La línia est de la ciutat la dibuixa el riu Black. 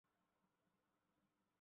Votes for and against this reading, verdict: 0, 2, rejected